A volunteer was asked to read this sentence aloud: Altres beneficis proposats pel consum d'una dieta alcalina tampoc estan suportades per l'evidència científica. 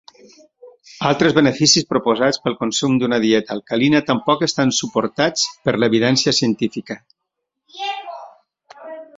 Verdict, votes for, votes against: rejected, 1, 2